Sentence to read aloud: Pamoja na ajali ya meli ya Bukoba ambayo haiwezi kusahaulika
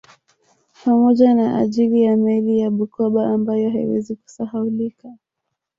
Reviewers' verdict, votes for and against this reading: rejected, 1, 2